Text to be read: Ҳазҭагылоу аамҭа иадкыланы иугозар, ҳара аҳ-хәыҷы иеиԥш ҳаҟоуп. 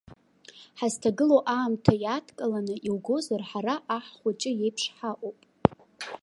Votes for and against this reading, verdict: 3, 0, accepted